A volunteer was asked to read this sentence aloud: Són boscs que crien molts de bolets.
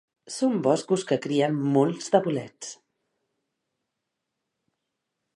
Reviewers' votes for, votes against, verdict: 2, 3, rejected